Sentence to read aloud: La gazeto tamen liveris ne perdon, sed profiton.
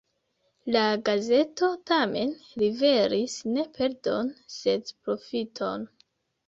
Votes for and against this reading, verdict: 2, 0, accepted